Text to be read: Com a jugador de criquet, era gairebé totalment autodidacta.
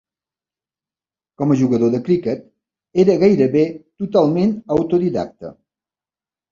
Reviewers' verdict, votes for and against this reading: accepted, 2, 0